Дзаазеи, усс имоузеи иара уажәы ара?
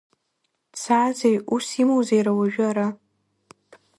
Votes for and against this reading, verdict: 2, 0, accepted